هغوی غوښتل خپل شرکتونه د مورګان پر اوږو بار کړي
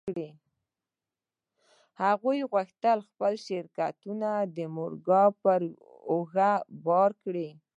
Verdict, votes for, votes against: rejected, 0, 2